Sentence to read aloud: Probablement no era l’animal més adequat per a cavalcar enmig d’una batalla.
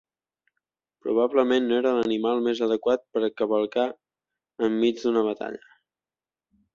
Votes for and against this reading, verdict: 3, 0, accepted